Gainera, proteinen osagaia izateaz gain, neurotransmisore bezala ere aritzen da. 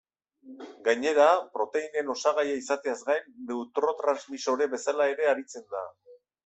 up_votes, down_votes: 1, 2